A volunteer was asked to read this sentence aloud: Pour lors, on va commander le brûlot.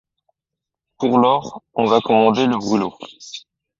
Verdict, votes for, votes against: accepted, 2, 1